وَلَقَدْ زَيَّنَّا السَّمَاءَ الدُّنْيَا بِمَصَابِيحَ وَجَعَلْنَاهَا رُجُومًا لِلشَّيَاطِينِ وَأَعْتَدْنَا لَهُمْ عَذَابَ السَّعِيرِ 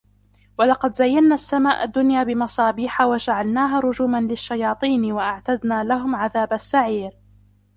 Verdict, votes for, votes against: rejected, 0, 2